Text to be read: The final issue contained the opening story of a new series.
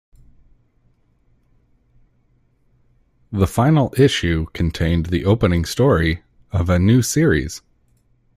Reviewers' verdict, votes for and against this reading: accepted, 2, 0